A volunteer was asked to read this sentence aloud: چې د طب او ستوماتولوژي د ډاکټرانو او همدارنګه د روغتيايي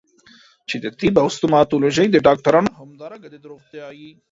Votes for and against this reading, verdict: 0, 2, rejected